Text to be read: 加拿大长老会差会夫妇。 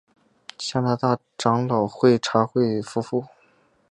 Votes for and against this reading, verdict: 4, 0, accepted